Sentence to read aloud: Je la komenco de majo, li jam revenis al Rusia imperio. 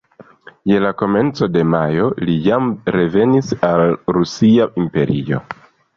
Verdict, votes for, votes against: accepted, 2, 0